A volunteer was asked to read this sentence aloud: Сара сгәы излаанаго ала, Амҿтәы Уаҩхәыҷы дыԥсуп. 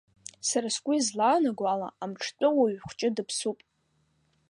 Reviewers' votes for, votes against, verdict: 1, 2, rejected